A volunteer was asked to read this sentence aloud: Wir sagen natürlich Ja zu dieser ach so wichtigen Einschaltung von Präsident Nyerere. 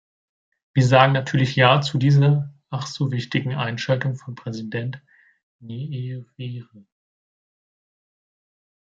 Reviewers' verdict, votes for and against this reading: rejected, 0, 2